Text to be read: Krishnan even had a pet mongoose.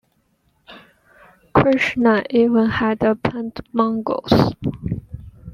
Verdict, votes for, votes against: accepted, 2, 0